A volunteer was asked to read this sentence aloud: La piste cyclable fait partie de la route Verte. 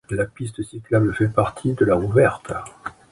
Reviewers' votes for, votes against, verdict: 0, 2, rejected